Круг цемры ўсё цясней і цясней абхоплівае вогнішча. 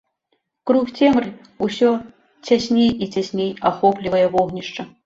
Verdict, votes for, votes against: rejected, 0, 2